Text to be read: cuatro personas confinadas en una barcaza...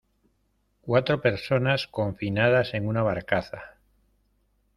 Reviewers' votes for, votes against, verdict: 2, 0, accepted